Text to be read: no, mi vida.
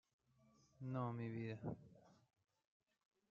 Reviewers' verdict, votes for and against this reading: rejected, 0, 2